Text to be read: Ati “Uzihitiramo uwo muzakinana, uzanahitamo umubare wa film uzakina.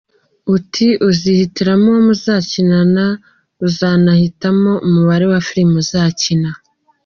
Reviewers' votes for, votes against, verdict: 2, 0, accepted